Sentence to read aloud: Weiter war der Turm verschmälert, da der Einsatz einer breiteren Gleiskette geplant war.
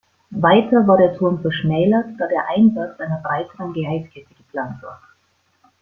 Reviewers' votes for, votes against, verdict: 1, 2, rejected